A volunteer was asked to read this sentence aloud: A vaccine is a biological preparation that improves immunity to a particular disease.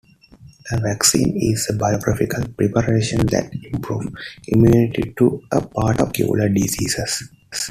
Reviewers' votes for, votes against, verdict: 1, 2, rejected